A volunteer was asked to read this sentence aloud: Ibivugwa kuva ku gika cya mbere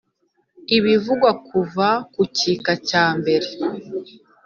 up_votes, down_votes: 2, 0